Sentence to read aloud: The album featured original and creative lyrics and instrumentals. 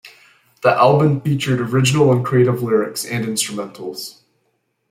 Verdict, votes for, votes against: accepted, 2, 0